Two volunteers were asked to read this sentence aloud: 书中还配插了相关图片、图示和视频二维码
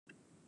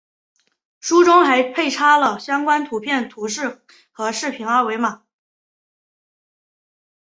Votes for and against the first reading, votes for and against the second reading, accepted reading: 0, 2, 2, 0, second